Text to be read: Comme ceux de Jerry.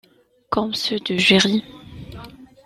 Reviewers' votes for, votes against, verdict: 2, 1, accepted